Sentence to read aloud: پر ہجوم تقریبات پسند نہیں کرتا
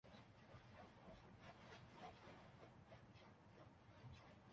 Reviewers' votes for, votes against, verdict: 0, 3, rejected